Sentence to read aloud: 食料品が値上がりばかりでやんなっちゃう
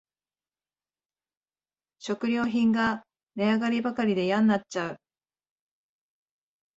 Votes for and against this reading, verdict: 2, 0, accepted